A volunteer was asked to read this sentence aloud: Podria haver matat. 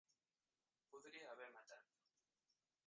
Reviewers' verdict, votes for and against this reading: rejected, 0, 2